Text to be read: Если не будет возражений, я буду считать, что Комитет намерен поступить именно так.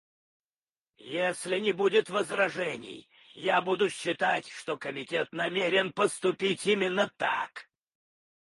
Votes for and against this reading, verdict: 4, 2, accepted